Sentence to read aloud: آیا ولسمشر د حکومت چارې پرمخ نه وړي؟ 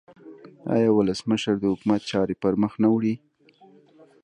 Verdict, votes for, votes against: accepted, 2, 0